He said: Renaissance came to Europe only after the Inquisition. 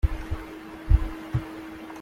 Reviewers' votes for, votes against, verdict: 0, 2, rejected